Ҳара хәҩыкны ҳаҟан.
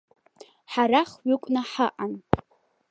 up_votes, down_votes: 2, 1